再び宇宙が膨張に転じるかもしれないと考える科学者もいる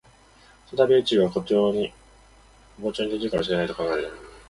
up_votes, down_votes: 0, 2